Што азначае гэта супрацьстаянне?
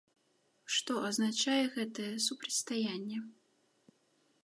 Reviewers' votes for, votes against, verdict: 1, 2, rejected